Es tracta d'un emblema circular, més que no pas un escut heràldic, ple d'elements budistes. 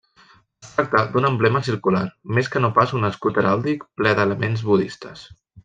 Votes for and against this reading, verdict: 1, 2, rejected